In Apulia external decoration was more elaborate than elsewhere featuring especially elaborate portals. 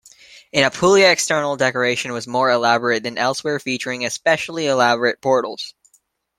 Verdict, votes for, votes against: accepted, 2, 0